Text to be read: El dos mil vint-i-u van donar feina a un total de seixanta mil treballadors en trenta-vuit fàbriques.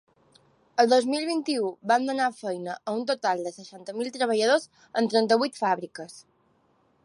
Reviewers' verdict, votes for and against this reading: accepted, 2, 0